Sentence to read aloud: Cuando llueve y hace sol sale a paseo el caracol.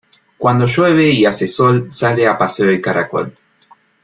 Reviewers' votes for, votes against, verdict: 2, 0, accepted